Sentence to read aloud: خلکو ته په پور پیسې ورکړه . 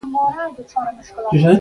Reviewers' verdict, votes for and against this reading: rejected, 0, 2